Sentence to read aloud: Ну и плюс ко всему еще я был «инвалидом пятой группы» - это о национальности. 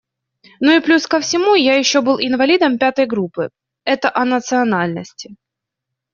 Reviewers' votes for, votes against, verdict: 2, 0, accepted